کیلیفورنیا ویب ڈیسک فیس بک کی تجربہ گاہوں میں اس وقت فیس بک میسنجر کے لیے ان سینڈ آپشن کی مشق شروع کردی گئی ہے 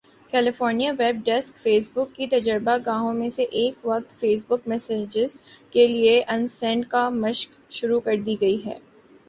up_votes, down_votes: 2, 0